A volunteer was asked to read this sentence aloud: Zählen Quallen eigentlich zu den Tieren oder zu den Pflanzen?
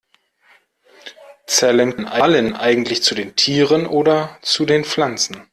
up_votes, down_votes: 0, 2